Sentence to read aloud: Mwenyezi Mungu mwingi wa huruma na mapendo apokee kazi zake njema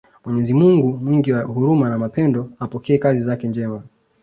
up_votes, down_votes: 1, 2